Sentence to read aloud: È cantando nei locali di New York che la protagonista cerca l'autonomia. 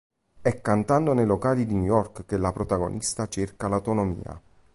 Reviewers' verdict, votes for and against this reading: accepted, 2, 0